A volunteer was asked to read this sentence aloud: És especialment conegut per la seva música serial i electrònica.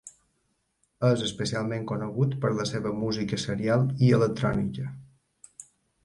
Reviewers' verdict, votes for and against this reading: accepted, 3, 0